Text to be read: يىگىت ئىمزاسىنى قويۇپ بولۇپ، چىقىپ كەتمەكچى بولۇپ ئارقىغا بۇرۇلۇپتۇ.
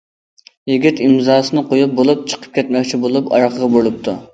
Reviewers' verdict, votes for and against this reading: accepted, 2, 0